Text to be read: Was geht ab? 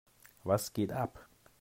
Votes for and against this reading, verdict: 2, 0, accepted